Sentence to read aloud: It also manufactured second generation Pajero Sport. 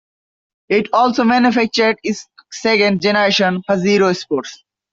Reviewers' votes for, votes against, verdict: 1, 2, rejected